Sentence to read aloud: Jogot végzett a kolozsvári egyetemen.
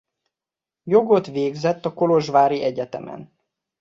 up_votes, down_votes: 2, 0